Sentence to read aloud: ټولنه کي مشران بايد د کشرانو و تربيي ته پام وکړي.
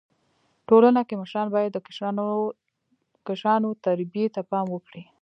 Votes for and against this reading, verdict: 2, 1, accepted